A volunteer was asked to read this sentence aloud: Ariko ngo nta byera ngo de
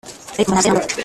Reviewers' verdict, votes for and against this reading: rejected, 0, 2